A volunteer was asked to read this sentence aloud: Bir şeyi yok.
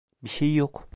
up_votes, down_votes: 0, 2